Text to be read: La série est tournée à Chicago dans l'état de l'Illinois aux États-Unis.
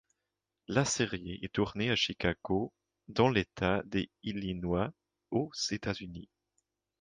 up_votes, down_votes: 1, 2